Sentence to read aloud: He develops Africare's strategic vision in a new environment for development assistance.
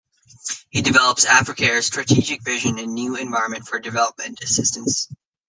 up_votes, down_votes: 0, 2